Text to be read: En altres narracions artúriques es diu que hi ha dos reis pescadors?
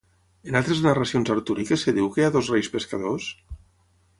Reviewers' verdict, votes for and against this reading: rejected, 0, 3